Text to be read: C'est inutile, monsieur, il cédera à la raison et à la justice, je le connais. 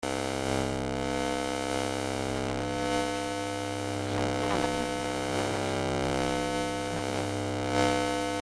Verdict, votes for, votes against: rejected, 0, 2